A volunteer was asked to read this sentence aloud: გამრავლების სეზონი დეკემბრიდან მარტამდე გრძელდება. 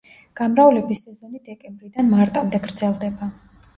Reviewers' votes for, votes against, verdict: 1, 2, rejected